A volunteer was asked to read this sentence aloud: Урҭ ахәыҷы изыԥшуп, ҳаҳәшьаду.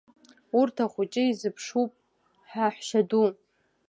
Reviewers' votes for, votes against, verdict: 2, 0, accepted